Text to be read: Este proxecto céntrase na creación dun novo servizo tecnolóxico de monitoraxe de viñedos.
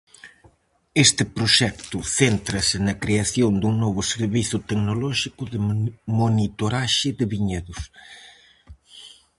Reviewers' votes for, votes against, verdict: 0, 4, rejected